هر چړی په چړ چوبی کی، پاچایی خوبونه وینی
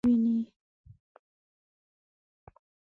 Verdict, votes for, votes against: rejected, 1, 2